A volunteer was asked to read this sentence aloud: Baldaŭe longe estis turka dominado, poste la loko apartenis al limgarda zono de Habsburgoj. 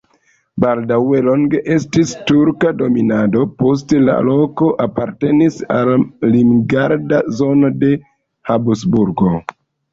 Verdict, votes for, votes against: accepted, 2, 1